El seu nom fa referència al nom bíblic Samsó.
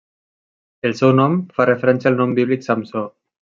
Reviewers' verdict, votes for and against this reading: accepted, 3, 0